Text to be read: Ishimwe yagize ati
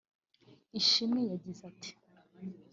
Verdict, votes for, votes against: accepted, 3, 0